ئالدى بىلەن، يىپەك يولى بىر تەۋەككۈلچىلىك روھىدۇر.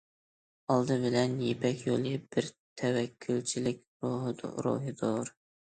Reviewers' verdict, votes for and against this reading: rejected, 1, 2